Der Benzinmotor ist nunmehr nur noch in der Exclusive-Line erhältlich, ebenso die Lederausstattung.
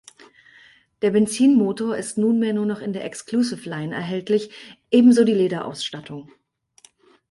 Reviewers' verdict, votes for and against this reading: accepted, 4, 0